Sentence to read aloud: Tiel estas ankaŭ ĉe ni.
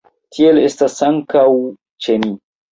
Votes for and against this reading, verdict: 2, 0, accepted